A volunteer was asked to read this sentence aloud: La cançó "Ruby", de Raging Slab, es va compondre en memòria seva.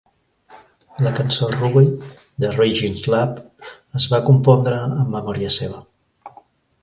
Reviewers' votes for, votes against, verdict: 2, 0, accepted